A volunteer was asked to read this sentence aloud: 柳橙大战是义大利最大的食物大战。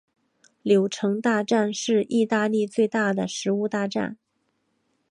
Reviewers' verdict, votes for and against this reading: accepted, 2, 0